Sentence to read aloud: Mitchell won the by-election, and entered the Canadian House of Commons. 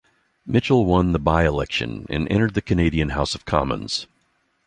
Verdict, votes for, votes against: accepted, 2, 0